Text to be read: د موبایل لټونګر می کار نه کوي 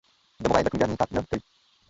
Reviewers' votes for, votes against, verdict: 0, 2, rejected